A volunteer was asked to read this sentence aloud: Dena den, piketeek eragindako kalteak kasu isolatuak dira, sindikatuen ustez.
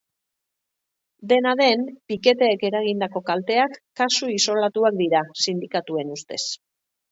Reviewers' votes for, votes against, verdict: 2, 0, accepted